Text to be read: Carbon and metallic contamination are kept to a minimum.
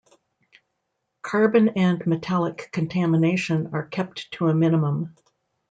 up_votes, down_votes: 2, 0